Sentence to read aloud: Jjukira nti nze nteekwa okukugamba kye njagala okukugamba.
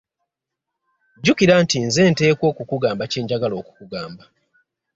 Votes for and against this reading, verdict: 2, 0, accepted